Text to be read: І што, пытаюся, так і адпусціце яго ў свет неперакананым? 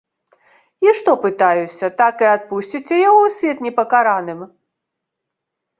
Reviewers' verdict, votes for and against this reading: rejected, 0, 2